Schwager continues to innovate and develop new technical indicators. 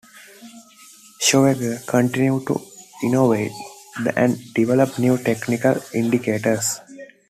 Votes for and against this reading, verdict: 0, 2, rejected